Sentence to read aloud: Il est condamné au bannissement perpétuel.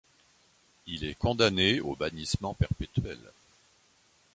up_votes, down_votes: 2, 0